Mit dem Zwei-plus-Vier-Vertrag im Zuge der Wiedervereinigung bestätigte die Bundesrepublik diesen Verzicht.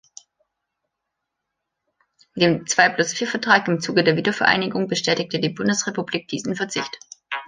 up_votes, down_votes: 1, 2